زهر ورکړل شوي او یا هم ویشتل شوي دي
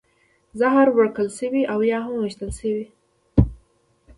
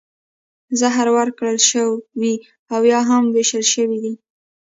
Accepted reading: second